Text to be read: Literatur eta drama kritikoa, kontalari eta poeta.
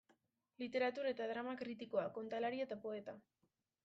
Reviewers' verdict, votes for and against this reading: accepted, 2, 0